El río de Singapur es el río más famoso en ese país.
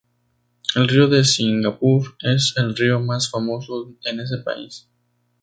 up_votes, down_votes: 2, 0